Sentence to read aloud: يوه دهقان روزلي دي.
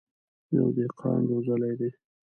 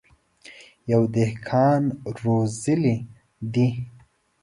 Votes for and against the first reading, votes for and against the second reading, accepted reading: 1, 2, 2, 0, second